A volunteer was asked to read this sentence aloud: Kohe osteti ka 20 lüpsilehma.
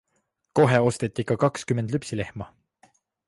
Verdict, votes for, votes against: rejected, 0, 2